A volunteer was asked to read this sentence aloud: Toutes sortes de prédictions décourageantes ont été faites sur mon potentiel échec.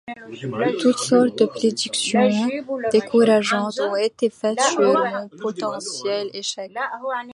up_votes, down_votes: 1, 2